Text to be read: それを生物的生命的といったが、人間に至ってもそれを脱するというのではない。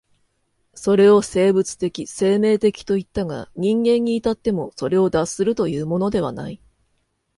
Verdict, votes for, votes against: accepted, 2, 1